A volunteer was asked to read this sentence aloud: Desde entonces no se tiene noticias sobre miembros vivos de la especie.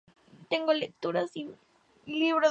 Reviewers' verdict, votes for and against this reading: rejected, 0, 2